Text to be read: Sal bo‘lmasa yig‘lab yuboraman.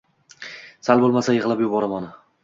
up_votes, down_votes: 2, 0